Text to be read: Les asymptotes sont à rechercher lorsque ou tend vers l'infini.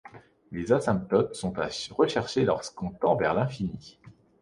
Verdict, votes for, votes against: rejected, 1, 2